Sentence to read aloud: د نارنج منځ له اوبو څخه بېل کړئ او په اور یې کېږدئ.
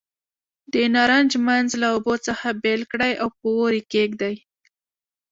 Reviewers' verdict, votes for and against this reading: rejected, 1, 2